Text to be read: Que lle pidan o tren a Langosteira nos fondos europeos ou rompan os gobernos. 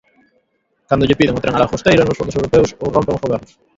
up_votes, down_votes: 0, 2